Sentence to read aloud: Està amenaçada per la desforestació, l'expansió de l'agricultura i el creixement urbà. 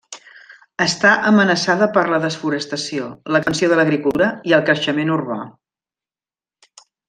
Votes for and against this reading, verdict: 1, 2, rejected